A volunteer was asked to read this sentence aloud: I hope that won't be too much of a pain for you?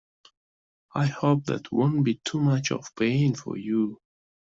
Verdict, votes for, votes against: accepted, 2, 0